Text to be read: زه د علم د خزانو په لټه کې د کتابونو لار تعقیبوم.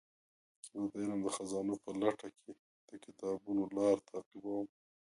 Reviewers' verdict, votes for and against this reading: rejected, 0, 2